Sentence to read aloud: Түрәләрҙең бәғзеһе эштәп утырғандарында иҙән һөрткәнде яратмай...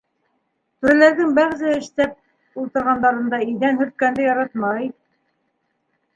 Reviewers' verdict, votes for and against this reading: rejected, 1, 2